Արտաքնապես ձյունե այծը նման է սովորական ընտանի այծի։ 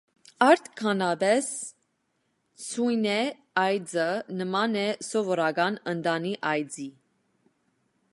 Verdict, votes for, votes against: rejected, 0, 2